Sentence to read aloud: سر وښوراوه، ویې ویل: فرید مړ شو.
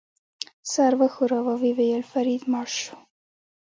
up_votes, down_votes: 2, 0